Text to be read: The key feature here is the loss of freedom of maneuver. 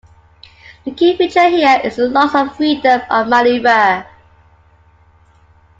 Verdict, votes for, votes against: accepted, 2, 1